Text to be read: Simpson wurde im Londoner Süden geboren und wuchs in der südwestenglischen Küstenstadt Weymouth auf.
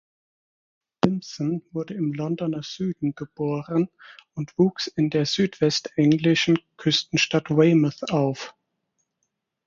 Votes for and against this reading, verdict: 0, 4, rejected